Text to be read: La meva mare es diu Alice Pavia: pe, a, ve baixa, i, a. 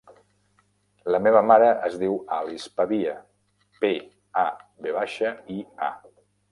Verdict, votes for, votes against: rejected, 0, 2